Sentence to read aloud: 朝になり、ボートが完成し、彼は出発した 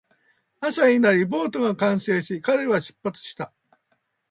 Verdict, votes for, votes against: rejected, 1, 2